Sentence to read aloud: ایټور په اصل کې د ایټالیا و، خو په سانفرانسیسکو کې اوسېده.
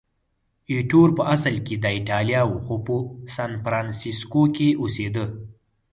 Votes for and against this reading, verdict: 4, 0, accepted